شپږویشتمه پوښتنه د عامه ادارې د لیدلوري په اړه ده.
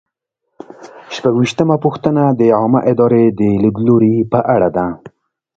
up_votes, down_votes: 2, 0